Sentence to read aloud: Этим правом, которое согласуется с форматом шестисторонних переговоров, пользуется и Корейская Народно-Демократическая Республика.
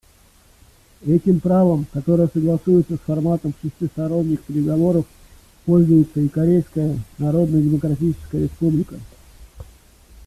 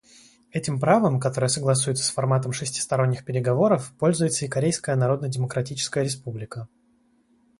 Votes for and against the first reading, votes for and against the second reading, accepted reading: 1, 2, 2, 0, second